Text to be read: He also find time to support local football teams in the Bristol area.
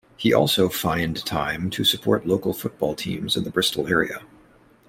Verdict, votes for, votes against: accepted, 2, 0